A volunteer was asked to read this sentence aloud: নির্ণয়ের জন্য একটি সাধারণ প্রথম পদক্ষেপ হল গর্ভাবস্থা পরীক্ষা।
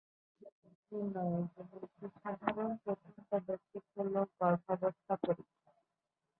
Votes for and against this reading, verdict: 0, 4, rejected